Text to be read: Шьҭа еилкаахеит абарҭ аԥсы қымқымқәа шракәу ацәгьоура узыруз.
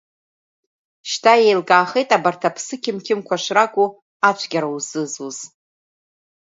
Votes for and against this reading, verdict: 1, 2, rejected